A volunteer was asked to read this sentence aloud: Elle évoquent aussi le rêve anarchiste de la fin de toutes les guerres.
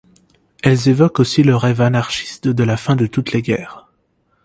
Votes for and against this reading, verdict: 2, 0, accepted